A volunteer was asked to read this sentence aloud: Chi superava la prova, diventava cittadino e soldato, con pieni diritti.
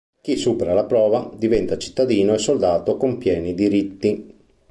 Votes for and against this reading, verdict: 1, 2, rejected